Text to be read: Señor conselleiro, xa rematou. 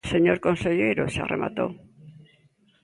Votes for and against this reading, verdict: 2, 0, accepted